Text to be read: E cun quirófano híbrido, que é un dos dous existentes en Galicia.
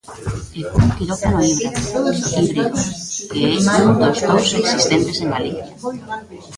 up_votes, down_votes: 0, 2